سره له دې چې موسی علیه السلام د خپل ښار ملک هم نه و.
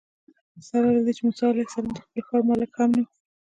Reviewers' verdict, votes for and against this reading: accepted, 2, 0